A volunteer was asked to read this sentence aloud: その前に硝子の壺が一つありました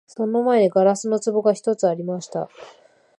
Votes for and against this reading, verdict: 2, 0, accepted